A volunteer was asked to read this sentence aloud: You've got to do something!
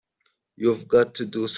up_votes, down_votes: 0, 2